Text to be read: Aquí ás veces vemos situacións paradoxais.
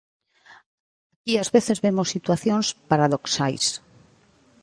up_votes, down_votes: 1, 2